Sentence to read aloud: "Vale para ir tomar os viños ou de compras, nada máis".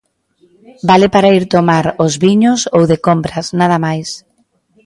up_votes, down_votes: 1, 2